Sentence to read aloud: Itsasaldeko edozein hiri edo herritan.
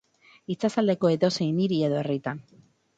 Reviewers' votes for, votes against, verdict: 4, 0, accepted